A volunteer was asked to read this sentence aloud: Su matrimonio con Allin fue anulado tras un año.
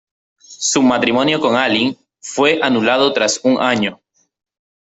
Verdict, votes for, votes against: rejected, 0, 3